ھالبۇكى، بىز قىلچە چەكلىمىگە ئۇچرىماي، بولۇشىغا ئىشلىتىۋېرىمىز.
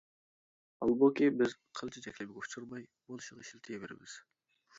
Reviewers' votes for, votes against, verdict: 2, 0, accepted